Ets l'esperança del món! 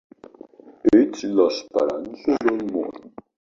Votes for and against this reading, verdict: 1, 2, rejected